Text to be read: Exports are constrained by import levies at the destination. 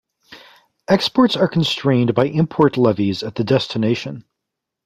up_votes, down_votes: 2, 0